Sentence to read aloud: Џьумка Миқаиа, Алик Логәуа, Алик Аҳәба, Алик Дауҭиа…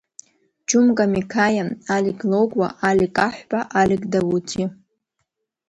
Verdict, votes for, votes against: accepted, 2, 0